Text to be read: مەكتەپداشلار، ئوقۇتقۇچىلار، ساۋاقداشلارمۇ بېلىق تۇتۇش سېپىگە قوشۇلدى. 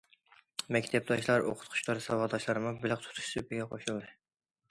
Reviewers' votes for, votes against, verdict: 2, 1, accepted